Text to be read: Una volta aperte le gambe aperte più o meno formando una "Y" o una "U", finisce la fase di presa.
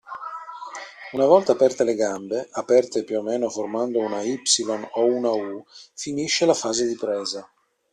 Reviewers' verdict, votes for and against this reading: accepted, 2, 1